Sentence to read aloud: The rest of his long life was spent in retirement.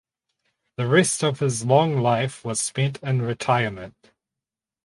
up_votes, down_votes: 4, 0